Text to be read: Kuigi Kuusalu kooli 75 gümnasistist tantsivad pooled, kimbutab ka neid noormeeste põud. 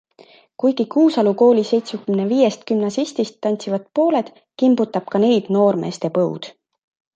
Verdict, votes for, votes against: rejected, 0, 2